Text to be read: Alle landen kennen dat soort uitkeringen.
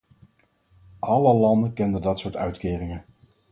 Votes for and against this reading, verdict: 4, 0, accepted